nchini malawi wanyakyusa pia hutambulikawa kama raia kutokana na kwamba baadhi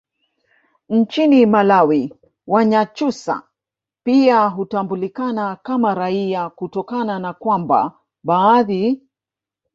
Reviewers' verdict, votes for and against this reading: rejected, 0, 2